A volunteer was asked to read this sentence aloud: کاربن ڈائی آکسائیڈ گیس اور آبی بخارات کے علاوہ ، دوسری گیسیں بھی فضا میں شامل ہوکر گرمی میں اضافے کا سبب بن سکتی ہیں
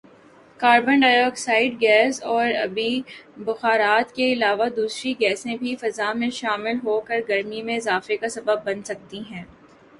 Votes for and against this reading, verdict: 1, 2, rejected